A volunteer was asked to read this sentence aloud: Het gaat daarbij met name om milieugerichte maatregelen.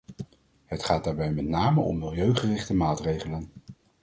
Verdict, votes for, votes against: accepted, 2, 0